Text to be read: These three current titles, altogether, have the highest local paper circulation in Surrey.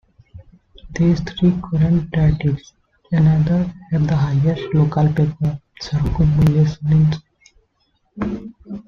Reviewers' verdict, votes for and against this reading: rejected, 0, 2